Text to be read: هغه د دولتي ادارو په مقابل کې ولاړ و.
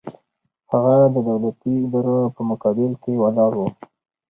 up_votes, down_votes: 2, 2